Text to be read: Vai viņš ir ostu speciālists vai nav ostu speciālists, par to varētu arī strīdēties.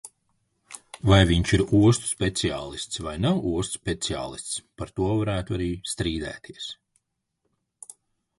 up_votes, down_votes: 2, 0